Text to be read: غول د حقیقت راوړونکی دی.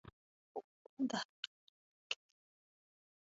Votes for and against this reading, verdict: 1, 2, rejected